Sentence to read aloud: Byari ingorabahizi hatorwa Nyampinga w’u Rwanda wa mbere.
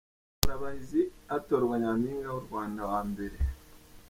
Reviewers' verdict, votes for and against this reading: rejected, 2, 3